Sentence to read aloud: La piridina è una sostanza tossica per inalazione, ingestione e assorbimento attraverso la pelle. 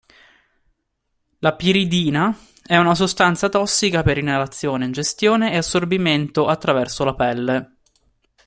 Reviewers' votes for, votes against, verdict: 2, 1, accepted